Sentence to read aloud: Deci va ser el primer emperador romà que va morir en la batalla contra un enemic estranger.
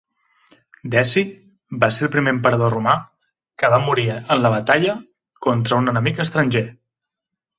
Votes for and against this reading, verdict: 2, 0, accepted